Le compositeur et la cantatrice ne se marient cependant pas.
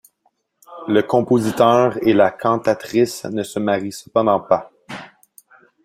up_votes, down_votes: 2, 0